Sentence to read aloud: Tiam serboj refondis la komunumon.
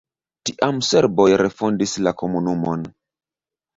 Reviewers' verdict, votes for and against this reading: accepted, 2, 0